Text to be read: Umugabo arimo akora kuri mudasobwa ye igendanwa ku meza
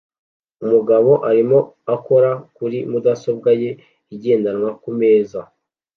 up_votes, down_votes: 2, 0